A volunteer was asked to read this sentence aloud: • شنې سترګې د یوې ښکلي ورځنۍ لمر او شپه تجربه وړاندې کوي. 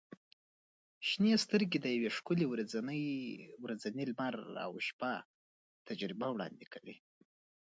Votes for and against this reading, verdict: 1, 2, rejected